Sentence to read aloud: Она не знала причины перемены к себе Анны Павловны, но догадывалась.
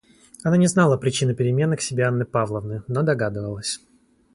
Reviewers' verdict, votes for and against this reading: accepted, 2, 0